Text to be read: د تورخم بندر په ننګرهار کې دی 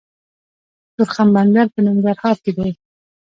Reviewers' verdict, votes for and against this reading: accepted, 2, 0